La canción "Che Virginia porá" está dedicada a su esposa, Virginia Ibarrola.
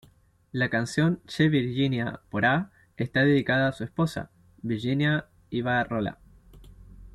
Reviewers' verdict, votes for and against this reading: rejected, 1, 2